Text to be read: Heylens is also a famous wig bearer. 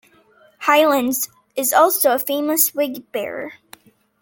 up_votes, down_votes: 2, 0